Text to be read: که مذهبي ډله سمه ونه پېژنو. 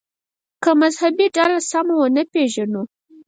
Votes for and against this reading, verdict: 2, 4, rejected